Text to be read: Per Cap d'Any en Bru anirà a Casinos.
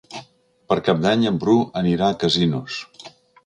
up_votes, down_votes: 3, 0